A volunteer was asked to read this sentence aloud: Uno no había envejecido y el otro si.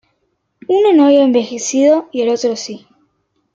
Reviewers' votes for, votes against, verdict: 2, 0, accepted